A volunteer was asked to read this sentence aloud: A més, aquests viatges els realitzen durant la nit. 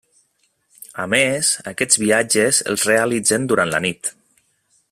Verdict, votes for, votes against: accepted, 3, 0